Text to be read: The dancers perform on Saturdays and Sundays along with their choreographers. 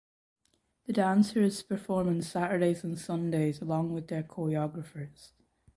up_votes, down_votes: 1, 2